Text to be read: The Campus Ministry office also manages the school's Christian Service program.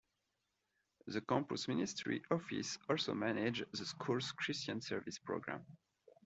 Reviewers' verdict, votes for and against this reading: accepted, 2, 0